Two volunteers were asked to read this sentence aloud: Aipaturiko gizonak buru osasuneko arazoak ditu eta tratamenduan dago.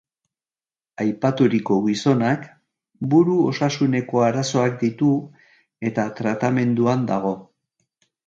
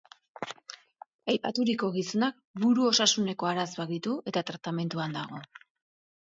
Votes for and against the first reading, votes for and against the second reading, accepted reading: 2, 0, 0, 2, first